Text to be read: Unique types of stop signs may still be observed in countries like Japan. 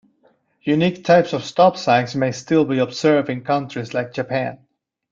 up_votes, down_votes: 1, 2